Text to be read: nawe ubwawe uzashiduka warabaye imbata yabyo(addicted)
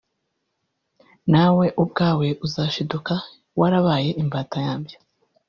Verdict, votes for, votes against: rejected, 1, 2